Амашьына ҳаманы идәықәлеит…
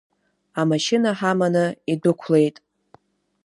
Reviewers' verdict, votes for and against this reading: accepted, 2, 0